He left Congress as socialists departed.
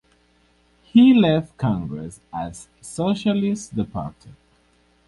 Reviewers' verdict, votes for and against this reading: rejected, 2, 2